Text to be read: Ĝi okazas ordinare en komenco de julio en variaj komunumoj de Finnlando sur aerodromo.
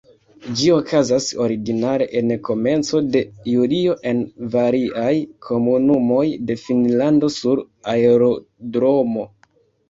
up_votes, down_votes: 0, 2